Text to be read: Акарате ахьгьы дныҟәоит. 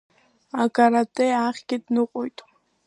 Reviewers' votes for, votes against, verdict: 2, 0, accepted